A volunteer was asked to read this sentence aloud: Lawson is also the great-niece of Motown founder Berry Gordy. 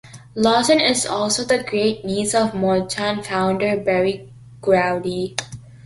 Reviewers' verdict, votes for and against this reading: rejected, 0, 2